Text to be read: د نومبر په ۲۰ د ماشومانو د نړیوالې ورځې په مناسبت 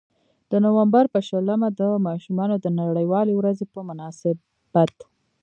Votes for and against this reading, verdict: 0, 2, rejected